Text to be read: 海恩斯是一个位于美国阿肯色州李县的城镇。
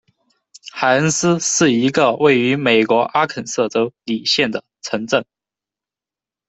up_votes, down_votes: 1, 2